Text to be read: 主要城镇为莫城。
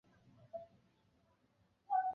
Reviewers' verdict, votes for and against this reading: rejected, 1, 5